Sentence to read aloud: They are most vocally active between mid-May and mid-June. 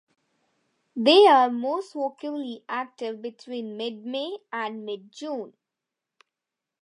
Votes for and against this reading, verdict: 2, 0, accepted